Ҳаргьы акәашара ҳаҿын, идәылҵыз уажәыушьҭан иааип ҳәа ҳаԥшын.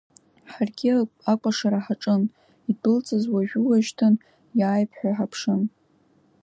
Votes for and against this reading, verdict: 1, 2, rejected